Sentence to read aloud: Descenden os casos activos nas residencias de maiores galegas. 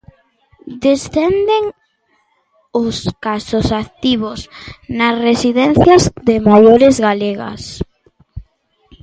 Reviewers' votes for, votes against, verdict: 2, 0, accepted